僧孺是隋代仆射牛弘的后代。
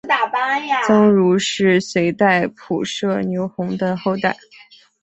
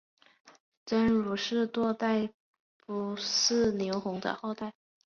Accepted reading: second